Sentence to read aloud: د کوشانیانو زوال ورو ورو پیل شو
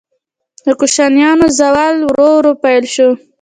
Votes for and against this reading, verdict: 2, 0, accepted